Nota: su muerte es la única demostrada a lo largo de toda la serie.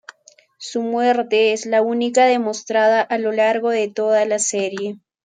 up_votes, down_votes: 1, 2